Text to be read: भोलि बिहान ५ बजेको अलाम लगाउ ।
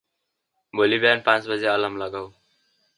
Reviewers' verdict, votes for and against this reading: rejected, 0, 2